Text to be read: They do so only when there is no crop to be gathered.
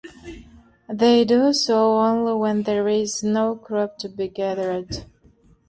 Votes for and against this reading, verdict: 2, 0, accepted